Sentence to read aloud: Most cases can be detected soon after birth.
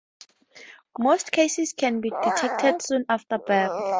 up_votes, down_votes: 2, 0